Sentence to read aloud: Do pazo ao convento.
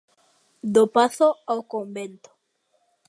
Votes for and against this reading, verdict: 2, 0, accepted